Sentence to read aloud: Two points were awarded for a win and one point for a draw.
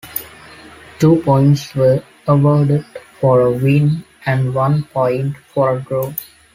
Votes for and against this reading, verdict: 2, 1, accepted